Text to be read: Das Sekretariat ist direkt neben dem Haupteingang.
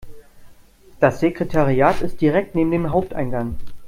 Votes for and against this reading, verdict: 2, 0, accepted